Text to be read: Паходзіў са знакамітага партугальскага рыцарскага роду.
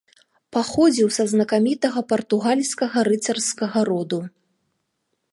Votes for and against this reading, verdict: 2, 0, accepted